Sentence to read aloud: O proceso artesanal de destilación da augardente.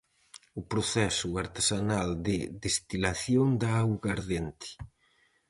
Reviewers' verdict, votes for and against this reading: accepted, 4, 0